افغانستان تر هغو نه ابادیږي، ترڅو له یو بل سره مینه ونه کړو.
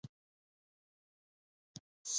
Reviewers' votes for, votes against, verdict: 1, 2, rejected